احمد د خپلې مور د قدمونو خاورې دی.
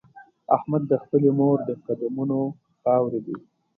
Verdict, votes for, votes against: accepted, 2, 0